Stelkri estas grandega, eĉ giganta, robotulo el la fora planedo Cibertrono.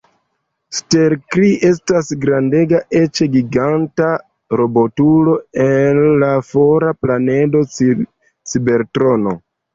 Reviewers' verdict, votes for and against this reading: rejected, 1, 2